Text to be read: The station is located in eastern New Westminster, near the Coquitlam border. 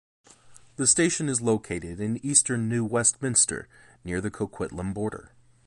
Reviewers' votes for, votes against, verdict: 2, 0, accepted